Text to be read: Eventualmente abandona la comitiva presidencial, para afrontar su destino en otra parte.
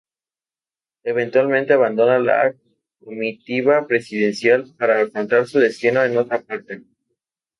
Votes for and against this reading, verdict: 0, 2, rejected